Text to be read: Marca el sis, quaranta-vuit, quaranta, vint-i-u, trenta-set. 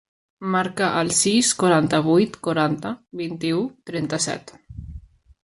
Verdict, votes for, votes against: accepted, 3, 1